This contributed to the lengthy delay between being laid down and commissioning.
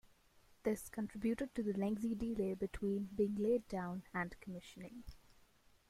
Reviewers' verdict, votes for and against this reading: rejected, 0, 2